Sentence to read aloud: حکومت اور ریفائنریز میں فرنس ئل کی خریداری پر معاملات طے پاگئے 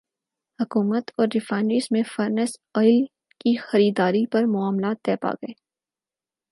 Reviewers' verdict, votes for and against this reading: accepted, 6, 0